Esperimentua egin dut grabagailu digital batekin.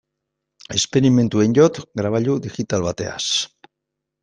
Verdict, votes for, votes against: rejected, 1, 2